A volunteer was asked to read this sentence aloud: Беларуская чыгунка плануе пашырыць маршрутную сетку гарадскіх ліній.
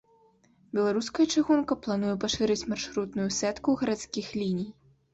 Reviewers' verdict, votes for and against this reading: rejected, 1, 2